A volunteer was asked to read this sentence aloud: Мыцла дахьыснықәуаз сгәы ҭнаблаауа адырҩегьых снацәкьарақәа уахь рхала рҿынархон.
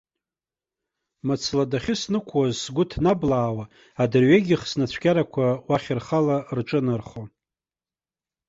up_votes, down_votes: 2, 0